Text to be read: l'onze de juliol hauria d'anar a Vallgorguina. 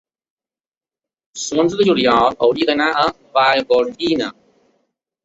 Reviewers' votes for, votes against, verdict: 1, 2, rejected